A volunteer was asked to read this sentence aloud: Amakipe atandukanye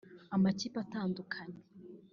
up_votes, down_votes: 1, 2